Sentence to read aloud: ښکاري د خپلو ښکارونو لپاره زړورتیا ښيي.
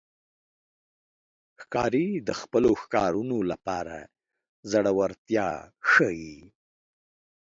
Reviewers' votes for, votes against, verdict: 2, 0, accepted